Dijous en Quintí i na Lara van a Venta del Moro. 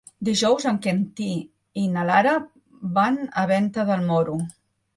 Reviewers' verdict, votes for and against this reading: rejected, 0, 2